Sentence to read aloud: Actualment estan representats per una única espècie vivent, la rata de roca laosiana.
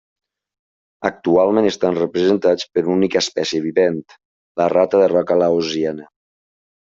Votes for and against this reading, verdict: 2, 0, accepted